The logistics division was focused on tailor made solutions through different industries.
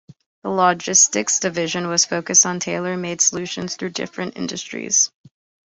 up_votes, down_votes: 2, 1